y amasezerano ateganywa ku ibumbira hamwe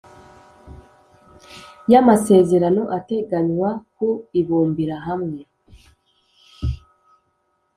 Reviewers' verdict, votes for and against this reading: accepted, 2, 0